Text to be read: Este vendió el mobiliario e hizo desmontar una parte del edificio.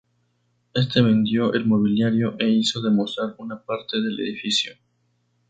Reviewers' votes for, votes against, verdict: 0, 2, rejected